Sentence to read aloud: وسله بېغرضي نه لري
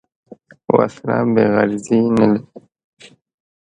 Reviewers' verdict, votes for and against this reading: rejected, 0, 2